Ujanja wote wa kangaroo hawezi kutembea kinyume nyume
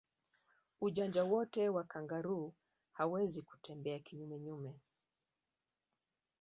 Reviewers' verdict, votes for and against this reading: rejected, 0, 2